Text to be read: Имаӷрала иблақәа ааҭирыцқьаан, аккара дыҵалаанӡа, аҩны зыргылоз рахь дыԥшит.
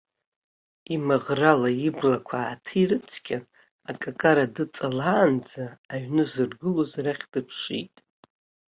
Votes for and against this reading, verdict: 1, 2, rejected